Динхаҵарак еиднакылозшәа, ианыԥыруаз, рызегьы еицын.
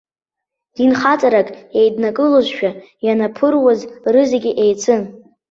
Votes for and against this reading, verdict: 1, 2, rejected